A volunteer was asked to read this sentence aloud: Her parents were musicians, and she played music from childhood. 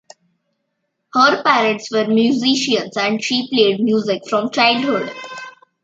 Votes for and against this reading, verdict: 2, 0, accepted